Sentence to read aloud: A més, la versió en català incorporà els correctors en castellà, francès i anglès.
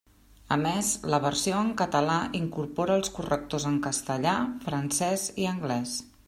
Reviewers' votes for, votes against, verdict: 0, 2, rejected